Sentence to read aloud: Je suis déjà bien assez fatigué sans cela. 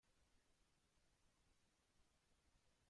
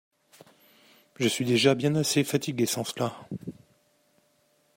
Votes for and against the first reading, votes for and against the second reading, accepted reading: 0, 2, 2, 0, second